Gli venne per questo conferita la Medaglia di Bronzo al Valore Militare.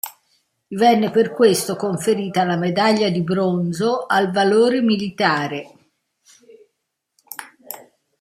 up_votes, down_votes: 0, 2